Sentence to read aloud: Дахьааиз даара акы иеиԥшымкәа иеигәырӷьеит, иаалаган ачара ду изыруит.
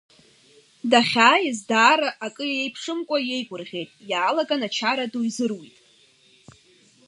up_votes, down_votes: 2, 0